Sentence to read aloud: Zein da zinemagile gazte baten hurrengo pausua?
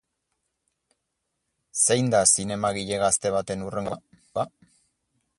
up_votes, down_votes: 0, 2